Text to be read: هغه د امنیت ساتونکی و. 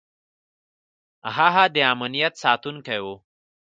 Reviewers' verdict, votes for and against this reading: accepted, 2, 0